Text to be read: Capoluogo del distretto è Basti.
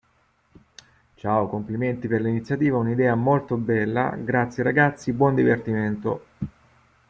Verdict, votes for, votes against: rejected, 0, 2